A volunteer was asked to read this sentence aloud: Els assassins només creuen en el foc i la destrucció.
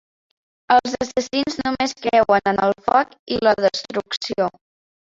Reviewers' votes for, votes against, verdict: 0, 2, rejected